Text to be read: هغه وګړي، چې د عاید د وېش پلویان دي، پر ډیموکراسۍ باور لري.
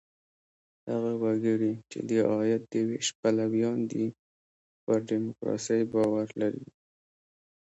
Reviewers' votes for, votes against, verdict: 1, 2, rejected